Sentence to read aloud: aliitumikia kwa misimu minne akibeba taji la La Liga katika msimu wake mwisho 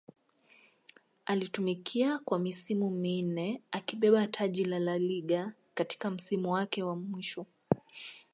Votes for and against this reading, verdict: 2, 0, accepted